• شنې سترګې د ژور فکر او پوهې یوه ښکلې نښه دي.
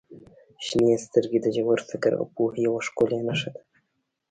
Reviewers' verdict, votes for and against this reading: accepted, 2, 0